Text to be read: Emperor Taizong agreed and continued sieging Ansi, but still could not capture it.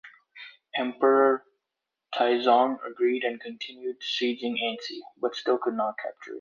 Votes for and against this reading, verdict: 2, 0, accepted